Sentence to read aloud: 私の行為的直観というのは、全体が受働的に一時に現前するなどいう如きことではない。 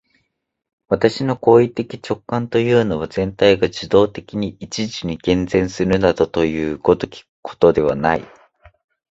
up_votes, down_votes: 2, 0